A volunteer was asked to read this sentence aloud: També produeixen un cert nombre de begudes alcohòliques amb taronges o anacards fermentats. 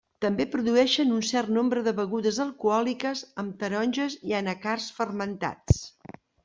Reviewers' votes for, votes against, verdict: 0, 2, rejected